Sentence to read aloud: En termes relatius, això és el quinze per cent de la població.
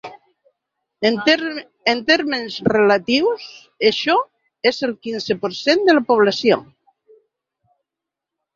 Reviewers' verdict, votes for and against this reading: rejected, 1, 2